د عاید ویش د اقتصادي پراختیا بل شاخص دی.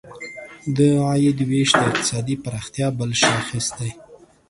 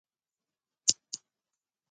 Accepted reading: first